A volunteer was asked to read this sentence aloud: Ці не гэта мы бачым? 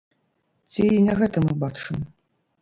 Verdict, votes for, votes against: rejected, 0, 3